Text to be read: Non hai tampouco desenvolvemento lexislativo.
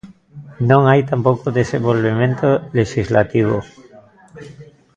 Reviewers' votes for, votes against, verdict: 1, 2, rejected